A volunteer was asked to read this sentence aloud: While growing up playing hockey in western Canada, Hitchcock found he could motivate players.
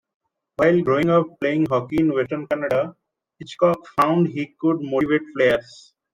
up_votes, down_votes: 1, 2